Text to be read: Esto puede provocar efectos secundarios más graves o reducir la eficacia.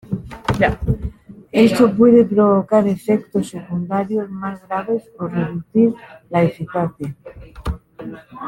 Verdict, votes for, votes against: rejected, 1, 2